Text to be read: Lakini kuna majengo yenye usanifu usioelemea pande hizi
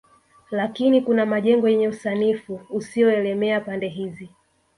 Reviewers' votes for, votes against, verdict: 1, 2, rejected